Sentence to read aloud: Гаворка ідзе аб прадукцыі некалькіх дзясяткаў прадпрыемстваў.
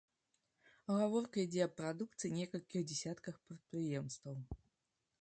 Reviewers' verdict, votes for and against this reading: rejected, 1, 2